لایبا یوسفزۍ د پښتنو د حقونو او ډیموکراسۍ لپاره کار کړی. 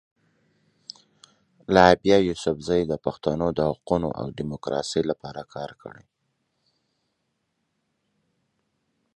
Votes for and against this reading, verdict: 1, 2, rejected